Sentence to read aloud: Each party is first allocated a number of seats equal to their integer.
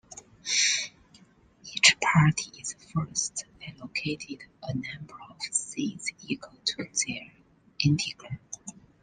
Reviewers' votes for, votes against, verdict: 1, 2, rejected